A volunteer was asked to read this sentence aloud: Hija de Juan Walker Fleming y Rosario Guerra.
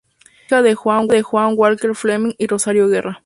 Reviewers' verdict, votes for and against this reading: accepted, 2, 0